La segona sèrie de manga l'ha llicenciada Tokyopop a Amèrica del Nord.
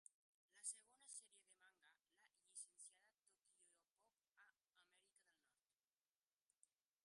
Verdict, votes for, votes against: rejected, 0, 3